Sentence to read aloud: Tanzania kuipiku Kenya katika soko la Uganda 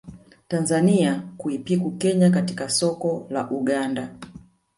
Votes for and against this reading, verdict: 1, 2, rejected